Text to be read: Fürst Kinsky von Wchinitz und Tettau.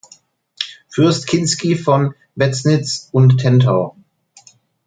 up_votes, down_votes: 0, 2